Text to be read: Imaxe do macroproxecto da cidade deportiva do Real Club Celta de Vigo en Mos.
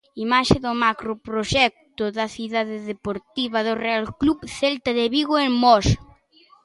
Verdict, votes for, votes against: accepted, 2, 0